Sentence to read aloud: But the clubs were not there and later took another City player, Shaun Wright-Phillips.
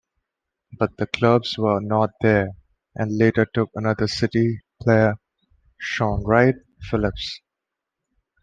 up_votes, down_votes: 2, 0